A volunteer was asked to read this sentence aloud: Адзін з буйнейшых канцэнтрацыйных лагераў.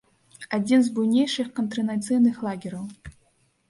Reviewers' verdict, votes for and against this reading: rejected, 1, 2